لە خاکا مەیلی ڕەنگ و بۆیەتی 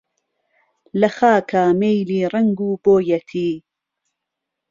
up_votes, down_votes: 2, 0